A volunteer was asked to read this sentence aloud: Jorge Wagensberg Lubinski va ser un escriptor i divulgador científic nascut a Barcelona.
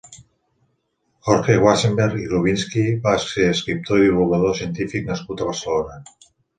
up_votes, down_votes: 1, 2